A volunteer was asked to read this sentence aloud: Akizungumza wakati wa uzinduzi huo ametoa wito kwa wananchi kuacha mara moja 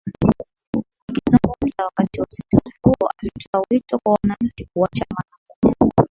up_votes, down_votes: 2, 1